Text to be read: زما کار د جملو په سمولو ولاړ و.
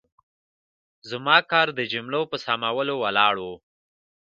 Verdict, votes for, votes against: accepted, 2, 0